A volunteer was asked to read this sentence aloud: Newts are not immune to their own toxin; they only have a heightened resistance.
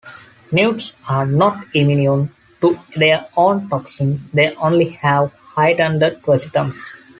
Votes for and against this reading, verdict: 1, 2, rejected